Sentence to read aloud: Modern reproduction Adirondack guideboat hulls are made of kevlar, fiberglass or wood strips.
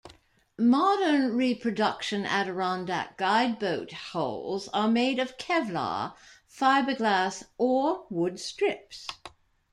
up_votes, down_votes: 2, 1